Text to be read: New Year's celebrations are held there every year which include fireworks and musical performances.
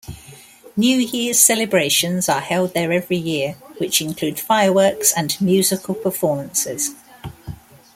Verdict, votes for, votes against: accepted, 2, 0